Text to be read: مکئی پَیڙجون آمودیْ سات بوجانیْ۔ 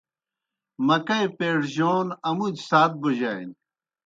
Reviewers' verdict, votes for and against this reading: accepted, 2, 0